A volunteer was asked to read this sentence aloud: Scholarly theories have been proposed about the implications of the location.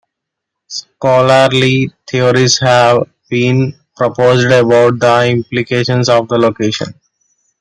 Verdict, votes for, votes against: rejected, 1, 2